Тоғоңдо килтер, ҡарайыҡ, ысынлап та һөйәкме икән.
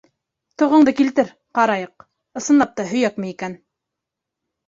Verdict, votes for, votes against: accepted, 2, 0